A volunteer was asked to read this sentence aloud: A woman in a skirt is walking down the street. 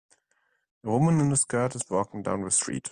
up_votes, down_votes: 2, 0